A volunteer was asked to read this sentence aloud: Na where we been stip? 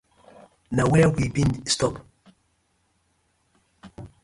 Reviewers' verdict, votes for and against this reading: accepted, 2, 0